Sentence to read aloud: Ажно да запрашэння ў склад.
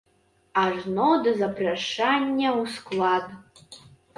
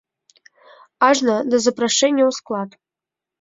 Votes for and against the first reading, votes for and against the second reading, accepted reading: 0, 2, 2, 0, second